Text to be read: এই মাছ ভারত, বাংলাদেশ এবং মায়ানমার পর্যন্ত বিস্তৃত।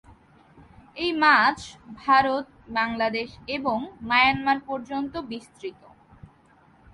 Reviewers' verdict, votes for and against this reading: accepted, 2, 0